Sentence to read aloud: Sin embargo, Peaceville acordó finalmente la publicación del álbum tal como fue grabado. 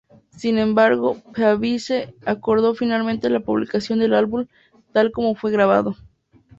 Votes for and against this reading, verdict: 0, 2, rejected